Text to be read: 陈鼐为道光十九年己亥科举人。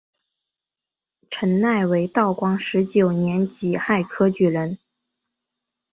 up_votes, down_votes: 2, 0